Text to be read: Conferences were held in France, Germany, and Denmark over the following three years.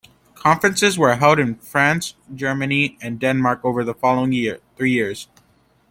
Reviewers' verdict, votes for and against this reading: rejected, 1, 2